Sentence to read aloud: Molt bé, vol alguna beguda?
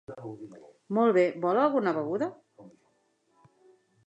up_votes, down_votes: 3, 0